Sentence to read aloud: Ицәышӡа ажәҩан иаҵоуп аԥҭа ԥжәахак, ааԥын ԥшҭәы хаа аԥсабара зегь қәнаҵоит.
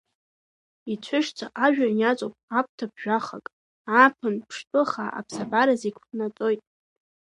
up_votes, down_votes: 1, 2